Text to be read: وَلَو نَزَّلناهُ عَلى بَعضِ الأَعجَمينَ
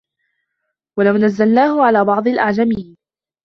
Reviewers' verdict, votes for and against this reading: accepted, 2, 1